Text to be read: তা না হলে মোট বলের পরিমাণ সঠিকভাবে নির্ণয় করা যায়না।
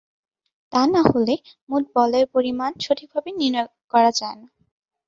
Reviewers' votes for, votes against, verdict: 4, 1, accepted